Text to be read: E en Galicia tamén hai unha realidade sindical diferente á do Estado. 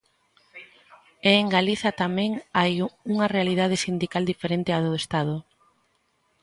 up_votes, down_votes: 0, 2